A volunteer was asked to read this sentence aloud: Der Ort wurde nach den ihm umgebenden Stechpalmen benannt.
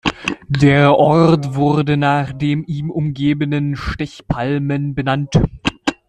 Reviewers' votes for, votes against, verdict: 1, 2, rejected